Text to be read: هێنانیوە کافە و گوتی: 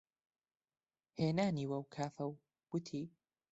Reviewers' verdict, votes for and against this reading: rejected, 1, 2